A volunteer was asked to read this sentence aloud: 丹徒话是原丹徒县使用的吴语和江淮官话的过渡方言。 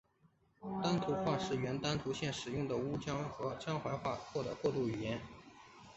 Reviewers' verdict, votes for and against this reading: rejected, 1, 3